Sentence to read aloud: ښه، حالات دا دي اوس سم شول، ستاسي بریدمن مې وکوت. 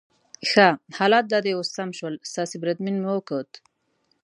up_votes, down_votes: 0, 2